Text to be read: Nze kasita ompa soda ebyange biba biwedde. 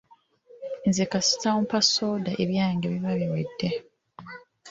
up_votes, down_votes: 3, 1